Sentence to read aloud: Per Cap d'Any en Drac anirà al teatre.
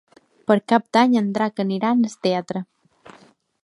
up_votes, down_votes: 1, 2